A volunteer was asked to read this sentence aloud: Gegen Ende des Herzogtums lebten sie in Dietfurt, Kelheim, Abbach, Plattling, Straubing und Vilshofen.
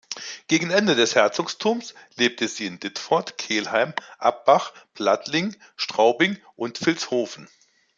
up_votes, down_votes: 0, 2